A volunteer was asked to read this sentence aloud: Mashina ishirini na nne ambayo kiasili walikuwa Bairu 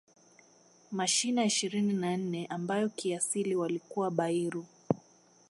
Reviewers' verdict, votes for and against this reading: accepted, 2, 0